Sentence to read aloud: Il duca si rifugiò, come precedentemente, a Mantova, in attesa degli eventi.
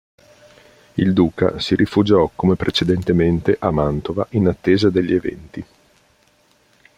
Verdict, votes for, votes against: accepted, 2, 0